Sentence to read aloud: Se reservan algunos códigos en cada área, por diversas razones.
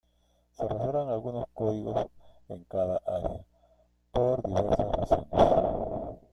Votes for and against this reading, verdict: 1, 2, rejected